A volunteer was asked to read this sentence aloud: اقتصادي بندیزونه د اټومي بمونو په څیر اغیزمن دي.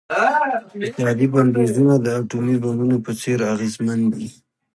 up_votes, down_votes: 2, 1